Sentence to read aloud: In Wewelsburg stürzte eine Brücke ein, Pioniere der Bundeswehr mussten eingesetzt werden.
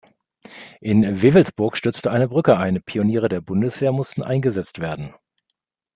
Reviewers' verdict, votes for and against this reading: accepted, 2, 0